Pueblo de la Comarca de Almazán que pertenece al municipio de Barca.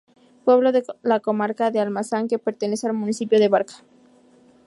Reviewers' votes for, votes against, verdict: 2, 2, rejected